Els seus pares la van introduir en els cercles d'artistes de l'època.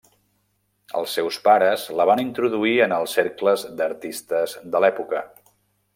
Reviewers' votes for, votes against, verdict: 3, 0, accepted